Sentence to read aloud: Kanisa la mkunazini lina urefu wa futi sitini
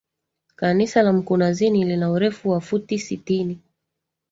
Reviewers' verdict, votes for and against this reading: accepted, 2, 0